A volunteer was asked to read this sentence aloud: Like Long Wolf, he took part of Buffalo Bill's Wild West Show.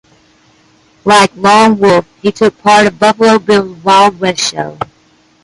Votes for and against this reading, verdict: 1, 2, rejected